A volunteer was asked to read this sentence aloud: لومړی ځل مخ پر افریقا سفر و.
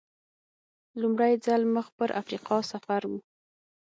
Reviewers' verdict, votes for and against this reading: accepted, 6, 0